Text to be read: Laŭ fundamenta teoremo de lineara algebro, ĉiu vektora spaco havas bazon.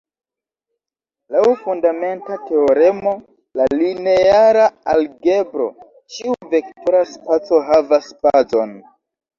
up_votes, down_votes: 2, 0